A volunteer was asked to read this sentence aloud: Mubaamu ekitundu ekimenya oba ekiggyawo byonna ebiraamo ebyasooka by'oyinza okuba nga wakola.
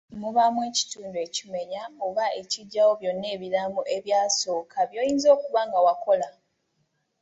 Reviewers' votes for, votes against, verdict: 2, 0, accepted